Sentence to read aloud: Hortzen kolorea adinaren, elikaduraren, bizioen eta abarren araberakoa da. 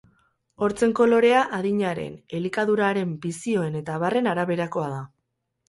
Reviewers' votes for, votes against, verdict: 2, 2, rejected